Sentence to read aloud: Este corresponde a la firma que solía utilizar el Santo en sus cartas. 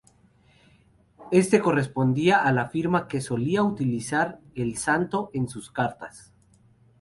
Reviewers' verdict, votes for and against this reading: rejected, 2, 4